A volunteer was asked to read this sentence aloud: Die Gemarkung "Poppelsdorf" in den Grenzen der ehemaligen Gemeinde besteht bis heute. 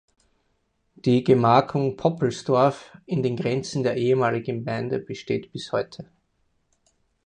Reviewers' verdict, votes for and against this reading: rejected, 2, 4